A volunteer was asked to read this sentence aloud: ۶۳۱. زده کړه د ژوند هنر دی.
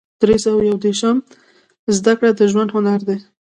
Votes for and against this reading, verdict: 0, 2, rejected